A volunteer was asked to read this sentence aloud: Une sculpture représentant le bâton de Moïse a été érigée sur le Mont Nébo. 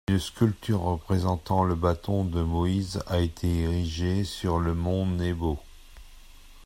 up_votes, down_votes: 1, 2